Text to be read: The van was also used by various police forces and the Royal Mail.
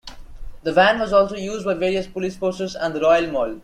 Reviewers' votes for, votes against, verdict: 1, 2, rejected